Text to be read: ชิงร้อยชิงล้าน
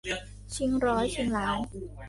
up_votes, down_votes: 1, 2